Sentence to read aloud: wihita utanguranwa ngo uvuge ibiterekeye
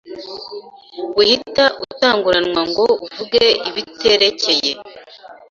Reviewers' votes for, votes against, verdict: 2, 0, accepted